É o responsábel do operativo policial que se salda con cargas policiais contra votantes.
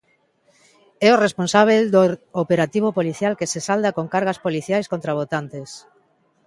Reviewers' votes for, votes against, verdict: 1, 2, rejected